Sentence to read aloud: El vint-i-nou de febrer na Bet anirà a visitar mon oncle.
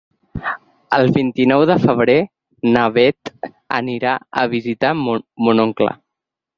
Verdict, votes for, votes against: rejected, 0, 6